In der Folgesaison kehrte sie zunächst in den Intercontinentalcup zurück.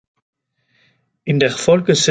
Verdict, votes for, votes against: rejected, 0, 2